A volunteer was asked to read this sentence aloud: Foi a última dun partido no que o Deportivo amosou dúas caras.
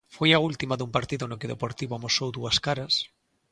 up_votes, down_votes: 2, 0